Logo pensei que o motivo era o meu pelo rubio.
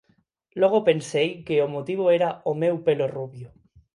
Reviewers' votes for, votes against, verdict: 2, 4, rejected